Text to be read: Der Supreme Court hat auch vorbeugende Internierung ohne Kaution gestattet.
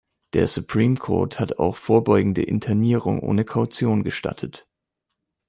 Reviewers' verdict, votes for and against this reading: accepted, 2, 0